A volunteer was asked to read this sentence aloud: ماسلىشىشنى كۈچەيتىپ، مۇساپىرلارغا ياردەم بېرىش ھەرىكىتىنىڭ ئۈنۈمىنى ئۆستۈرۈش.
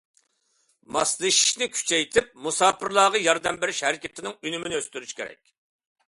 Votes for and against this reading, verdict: 0, 2, rejected